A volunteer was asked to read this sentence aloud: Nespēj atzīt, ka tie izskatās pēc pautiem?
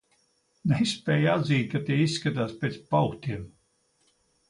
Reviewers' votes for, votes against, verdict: 1, 2, rejected